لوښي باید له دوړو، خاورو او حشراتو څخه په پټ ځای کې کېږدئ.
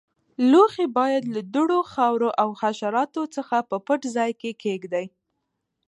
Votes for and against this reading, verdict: 0, 2, rejected